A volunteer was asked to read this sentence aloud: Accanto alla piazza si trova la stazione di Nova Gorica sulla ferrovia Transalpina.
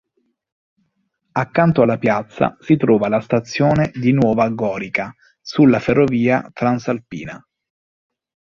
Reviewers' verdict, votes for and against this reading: accepted, 2, 0